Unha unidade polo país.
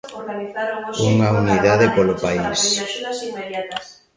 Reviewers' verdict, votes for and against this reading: rejected, 0, 2